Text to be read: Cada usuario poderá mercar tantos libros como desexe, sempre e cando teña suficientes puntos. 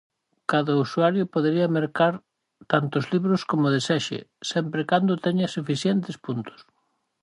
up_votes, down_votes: 0, 4